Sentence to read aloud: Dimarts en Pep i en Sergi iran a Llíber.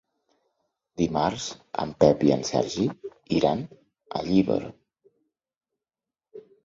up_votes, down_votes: 3, 0